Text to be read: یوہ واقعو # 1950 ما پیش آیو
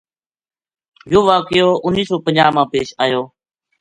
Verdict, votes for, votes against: rejected, 0, 2